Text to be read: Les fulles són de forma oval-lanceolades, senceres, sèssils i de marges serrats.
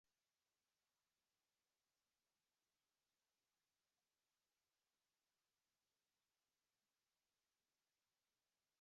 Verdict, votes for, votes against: rejected, 0, 3